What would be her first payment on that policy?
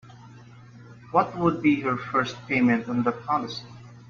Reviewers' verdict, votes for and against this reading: rejected, 0, 2